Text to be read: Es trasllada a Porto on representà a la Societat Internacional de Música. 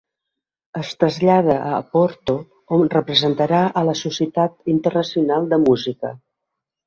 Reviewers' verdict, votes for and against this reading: rejected, 0, 2